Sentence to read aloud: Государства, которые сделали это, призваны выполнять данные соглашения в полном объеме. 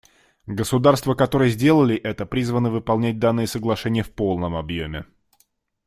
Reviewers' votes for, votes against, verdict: 2, 0, accepted